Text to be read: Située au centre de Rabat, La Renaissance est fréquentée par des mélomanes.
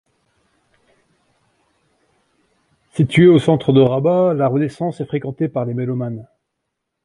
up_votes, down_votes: 2, 0